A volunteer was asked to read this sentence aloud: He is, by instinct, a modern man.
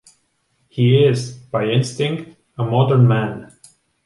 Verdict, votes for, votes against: accepted, 3, 0